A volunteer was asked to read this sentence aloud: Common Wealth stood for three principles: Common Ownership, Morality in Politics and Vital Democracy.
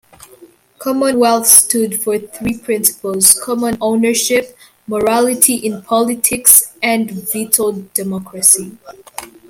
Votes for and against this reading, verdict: 0, 2, rejected